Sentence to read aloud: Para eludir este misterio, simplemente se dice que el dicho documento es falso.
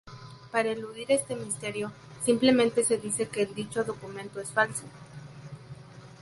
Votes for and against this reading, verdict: 4, 0, accepted